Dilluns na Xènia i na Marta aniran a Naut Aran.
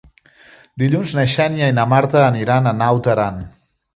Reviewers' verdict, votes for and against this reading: accepted, 2, 0